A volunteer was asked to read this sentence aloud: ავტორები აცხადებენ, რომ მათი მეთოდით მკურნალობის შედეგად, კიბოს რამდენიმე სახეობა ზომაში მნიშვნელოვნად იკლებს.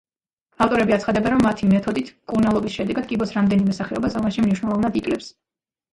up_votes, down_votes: 2, 0